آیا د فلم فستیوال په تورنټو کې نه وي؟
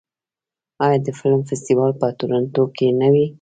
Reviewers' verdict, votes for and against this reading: rejected, 1, 2